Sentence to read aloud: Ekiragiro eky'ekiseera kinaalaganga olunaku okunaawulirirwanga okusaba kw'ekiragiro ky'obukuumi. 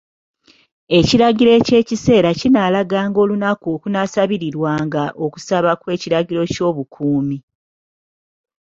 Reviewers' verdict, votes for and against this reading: accepted, 2, 1